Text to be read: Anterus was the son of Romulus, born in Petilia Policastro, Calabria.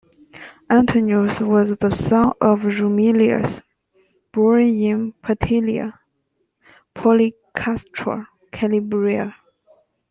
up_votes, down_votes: 0, 2